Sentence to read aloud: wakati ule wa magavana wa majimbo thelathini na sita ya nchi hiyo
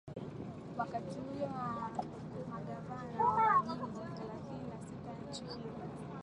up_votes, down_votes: 6, 7